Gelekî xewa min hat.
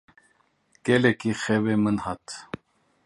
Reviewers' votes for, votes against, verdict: 0, 2, rejected